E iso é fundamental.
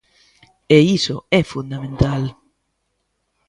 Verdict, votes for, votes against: accepted, 2, 0